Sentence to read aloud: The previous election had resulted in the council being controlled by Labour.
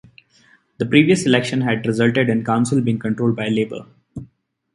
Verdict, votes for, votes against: accepted, 2, 0